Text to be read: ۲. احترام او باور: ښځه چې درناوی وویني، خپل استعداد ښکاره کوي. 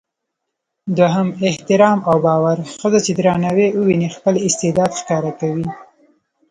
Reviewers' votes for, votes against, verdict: 0, 2, rejected